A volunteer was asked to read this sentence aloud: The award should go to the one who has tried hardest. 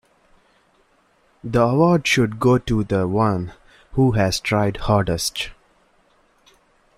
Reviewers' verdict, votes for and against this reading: accepted, 2, 0